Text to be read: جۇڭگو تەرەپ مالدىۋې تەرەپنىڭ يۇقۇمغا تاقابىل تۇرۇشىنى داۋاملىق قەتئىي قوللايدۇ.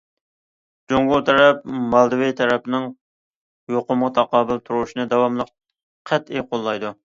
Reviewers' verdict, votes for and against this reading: accepted, 2, 0